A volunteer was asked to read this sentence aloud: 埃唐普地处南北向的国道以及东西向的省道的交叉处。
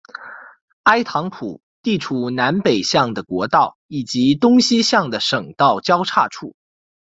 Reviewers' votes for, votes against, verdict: 2, 1, accepted